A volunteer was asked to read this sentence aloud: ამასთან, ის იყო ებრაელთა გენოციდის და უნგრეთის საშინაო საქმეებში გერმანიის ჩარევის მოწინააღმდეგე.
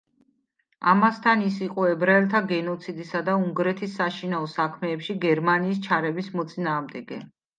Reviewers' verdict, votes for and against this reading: accepted, 2, 1